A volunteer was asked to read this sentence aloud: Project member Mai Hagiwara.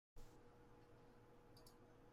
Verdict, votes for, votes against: rejected, 0, 2